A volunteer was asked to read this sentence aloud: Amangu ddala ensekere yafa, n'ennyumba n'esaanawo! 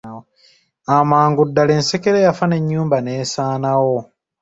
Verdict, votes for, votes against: accepted, 3, 0